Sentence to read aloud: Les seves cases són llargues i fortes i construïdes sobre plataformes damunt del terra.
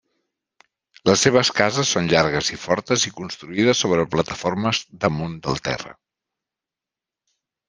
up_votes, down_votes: 3, 0